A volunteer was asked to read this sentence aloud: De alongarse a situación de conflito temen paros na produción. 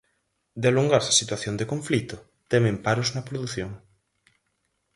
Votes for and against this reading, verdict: 4, 0, accepted